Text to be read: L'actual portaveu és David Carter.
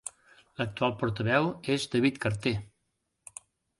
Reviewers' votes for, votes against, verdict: 2, 0, accepted